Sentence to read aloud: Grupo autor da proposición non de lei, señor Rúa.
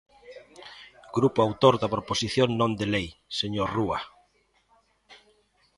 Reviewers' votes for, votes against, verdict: 1, 2, rejected